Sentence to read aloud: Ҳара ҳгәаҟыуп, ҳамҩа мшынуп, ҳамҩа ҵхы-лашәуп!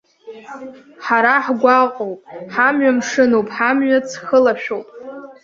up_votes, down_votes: 0, 2